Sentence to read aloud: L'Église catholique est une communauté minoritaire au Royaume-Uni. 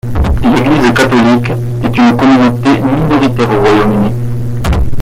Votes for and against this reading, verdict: 2, 1, accepted